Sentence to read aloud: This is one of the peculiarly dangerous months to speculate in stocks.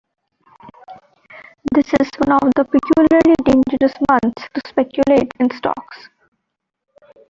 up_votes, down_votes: 3, 1